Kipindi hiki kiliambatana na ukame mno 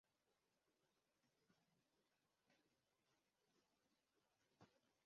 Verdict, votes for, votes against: rejected, 0, 2